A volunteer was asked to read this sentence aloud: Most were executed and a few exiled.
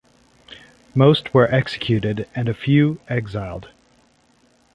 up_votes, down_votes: 2, 0